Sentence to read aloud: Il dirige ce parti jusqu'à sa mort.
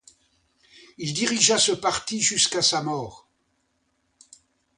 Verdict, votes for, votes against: rejected, 0, 2